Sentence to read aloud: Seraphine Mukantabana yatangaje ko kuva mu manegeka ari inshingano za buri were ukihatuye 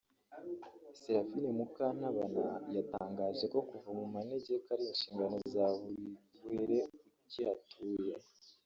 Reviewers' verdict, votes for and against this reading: rejected, 0, 2